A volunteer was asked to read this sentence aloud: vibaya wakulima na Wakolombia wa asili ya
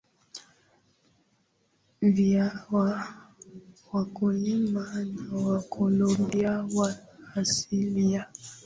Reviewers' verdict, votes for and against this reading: rejected, 0, 2